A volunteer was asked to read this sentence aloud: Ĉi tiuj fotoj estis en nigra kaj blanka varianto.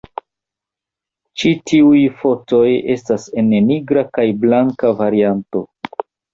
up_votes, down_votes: 0, 2